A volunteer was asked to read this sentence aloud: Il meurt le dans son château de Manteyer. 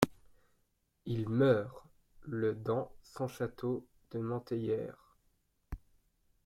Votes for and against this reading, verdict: 2, 0, accepted